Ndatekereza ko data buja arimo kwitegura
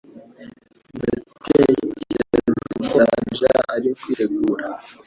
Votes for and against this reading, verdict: 1, 2, rejected